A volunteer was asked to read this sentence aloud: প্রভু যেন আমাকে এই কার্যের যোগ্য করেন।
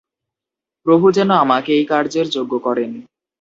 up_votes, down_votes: 2, 0